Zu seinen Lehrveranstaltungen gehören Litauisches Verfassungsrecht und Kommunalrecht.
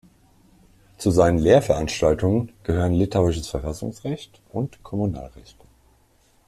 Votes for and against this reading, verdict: 2, 0, accepted